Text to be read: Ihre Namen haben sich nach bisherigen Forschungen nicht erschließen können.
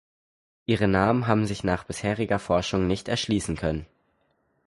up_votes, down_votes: 0, 4